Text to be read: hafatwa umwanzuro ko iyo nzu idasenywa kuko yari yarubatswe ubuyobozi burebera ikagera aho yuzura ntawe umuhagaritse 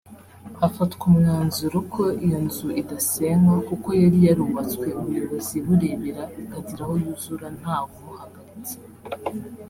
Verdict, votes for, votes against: accepted, 3, 0